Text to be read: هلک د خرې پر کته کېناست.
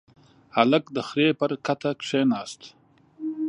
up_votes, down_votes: 2, 1